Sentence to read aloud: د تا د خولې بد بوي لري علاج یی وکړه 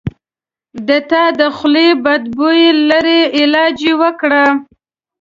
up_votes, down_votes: 2, 0